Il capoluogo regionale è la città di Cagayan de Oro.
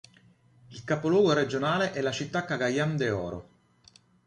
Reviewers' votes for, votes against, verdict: 1, 2, rejected